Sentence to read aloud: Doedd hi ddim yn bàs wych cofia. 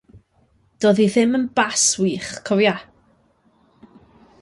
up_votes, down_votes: 2, 0